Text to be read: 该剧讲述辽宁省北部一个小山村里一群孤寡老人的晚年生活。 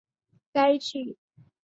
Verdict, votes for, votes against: rejected, 1, 4